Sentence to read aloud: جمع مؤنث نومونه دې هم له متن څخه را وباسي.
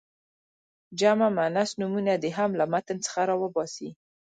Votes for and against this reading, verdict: 2, 0, accepted